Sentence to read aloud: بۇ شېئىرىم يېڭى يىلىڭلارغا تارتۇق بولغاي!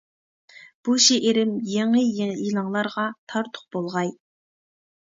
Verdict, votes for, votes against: rejected, 1, 2